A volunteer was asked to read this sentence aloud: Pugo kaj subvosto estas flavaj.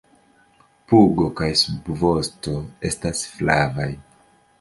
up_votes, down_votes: 2, 0